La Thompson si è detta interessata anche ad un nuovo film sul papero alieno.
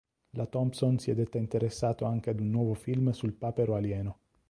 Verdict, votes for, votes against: rejected, 0, 2